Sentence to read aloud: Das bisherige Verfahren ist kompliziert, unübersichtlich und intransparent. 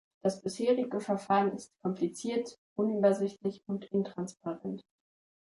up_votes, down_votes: 2, 1